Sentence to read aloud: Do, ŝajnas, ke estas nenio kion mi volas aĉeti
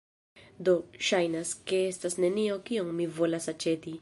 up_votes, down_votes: 0, 2